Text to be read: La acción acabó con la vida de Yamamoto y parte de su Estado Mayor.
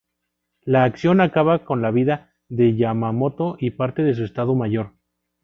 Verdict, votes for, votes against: rejected, 0, 2